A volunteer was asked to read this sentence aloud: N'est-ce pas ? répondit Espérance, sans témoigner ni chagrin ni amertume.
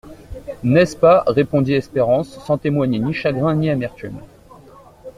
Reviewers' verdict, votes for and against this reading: accepted, 2, 0